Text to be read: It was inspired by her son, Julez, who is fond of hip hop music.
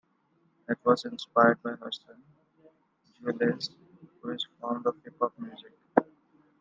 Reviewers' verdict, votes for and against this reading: rejected, 1, 2